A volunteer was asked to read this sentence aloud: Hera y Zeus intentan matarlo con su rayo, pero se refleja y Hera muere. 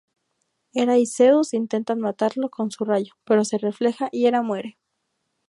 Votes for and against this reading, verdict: 2, 0, accepted